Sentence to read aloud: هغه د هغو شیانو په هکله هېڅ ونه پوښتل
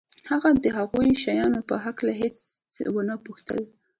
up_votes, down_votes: 2, 1